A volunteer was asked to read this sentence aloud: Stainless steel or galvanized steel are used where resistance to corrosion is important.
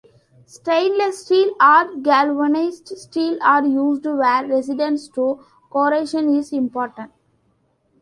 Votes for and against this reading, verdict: 0, 2, rejected